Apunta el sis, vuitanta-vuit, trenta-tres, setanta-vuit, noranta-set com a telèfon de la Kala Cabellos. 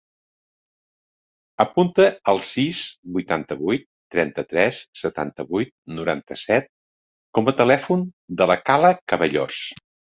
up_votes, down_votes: 3, 0